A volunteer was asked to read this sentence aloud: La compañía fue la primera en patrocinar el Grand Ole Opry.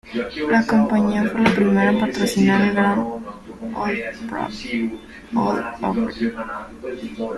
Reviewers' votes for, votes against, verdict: 0, 2, rejected